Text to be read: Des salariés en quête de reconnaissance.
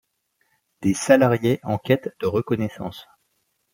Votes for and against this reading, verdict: 2, 1, accepted